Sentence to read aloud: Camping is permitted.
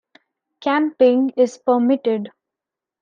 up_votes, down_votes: 2, 0